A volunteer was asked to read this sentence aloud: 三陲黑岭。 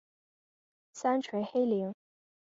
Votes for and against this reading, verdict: 3, 0, accepted